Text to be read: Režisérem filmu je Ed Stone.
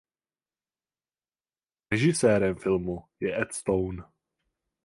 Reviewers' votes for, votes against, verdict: 0, 4, rejected